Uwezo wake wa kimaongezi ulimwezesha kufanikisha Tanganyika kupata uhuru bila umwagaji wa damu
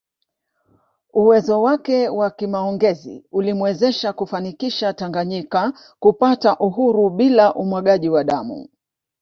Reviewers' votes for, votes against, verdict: 2, 0, accepted